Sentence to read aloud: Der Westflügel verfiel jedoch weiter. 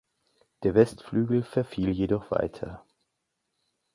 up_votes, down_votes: 3, 0